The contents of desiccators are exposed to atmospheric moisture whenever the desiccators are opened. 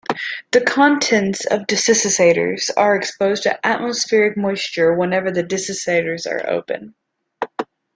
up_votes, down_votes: 1, 2